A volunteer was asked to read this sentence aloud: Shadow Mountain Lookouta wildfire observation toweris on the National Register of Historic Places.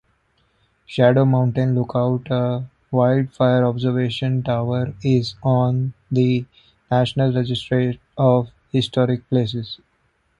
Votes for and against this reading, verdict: 2, 0, accepted